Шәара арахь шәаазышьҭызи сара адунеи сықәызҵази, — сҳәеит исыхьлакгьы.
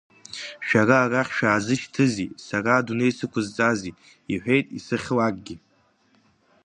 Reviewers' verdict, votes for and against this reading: rejected, 0, 2